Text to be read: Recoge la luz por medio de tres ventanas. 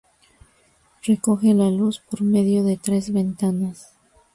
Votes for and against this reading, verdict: 2, 0, accepted